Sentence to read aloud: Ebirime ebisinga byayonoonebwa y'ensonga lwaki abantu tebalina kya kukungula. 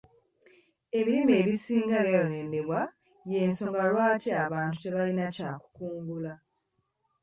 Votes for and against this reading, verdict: 2, 0, accepted